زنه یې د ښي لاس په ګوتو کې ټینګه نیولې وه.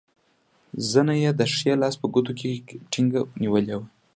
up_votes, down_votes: 2, 0